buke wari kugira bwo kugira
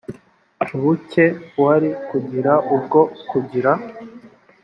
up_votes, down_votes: 1, 2